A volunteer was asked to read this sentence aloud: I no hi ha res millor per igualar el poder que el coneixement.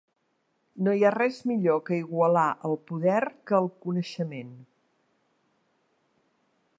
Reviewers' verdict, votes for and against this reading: rejected, 0, 2